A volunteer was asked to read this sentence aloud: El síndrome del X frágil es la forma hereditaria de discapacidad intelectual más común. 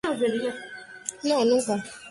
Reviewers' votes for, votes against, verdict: 0, 2, rejected